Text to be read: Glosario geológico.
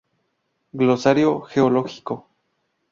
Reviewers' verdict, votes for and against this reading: accepted, 2, 0